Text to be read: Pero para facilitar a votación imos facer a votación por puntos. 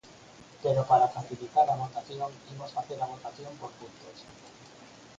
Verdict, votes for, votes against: accepted, 4, 2